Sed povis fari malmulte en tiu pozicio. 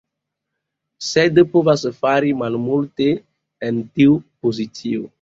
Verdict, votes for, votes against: accepted, 2, 0